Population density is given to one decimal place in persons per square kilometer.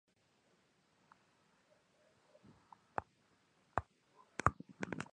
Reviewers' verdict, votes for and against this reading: rejected, 0, 2